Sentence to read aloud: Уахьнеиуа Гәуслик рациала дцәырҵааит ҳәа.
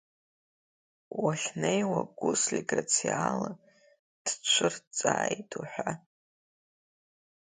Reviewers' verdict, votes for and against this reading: accepted, 2, 0